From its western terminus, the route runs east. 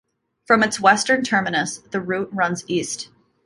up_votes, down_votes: 2, 0